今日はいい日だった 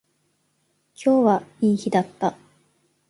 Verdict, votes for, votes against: accepted, 3, 0